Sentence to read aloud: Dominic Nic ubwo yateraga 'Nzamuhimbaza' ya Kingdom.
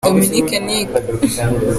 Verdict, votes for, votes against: rejected, 0, 2